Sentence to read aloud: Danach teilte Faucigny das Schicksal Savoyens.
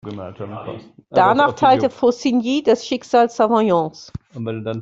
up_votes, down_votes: 0, 2